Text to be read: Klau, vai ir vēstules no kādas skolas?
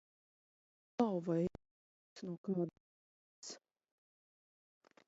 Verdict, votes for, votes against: rejected, 0, 2